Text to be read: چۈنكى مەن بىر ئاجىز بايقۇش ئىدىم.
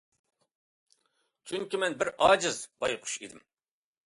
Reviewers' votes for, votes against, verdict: 2, 0, accepted